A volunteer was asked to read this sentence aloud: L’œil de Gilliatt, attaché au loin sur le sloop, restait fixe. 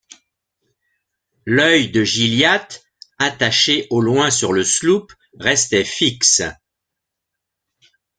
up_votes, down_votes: 2, 0